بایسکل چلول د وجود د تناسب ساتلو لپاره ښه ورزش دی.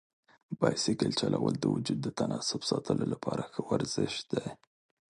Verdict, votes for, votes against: accepted, 5, 0